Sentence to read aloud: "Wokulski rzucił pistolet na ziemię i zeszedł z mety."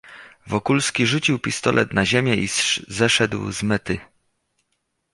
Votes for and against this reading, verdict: 0, 2, rejected